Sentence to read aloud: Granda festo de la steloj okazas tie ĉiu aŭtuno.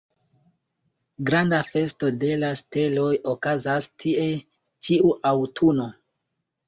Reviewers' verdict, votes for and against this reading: accepted, 2, 0